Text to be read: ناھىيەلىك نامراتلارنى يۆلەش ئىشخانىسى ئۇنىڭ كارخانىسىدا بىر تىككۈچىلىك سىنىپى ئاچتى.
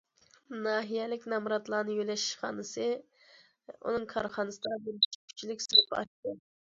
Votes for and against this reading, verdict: 0, 2, rejected